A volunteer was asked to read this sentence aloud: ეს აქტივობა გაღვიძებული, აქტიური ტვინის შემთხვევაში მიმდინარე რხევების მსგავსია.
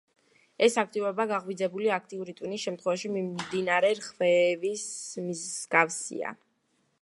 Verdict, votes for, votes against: rejected, 0, 2